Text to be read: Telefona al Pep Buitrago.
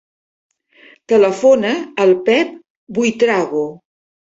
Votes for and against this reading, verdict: 5, 0, accepted